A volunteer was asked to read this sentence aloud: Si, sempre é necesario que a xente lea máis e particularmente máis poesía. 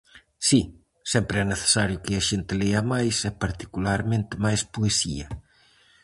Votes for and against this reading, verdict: 4, 0, accepted